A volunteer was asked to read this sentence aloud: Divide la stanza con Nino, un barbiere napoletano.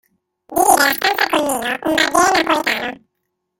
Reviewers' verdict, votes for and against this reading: rejected, 0, 2